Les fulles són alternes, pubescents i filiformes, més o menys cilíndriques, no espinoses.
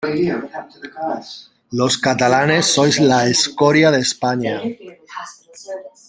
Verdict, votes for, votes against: rejected, 0, 2